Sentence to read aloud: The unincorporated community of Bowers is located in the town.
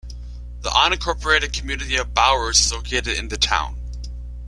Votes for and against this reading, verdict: 2, 0, accepted